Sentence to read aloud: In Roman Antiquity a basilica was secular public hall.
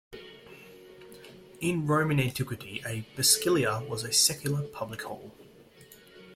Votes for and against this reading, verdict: 1, 2, rejected